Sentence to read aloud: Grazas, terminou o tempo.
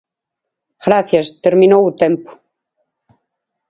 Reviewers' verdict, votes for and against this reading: rejected, 0, 4